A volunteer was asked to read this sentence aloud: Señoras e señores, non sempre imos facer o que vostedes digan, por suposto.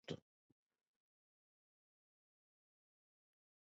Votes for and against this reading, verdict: 0, 2, rejected